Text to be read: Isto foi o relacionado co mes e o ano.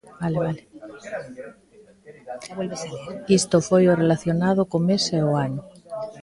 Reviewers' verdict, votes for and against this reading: rejected, 0, 4